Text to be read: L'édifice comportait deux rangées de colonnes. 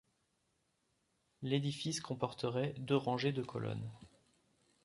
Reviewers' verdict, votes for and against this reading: rejected, 0, 2